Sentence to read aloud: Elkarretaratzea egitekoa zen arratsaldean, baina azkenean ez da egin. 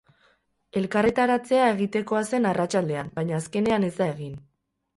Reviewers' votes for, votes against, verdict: 2, 2, rejected